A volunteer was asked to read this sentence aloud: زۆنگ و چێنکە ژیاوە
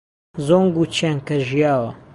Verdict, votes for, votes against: accepted, 3, 0